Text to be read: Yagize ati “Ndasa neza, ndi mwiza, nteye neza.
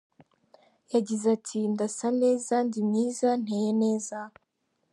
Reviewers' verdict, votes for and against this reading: accepted, 2, 0